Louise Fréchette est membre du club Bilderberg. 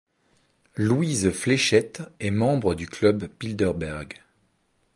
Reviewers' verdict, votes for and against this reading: rejected, 1, 2